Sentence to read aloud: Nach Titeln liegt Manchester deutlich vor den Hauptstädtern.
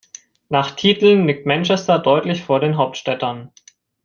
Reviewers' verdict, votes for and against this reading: accepted, 2, 0